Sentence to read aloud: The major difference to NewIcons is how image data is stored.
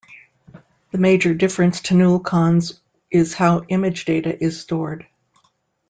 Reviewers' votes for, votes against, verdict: 1, 2, rejected